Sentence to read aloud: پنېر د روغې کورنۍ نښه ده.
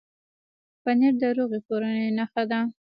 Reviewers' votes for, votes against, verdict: 0, 2, rejected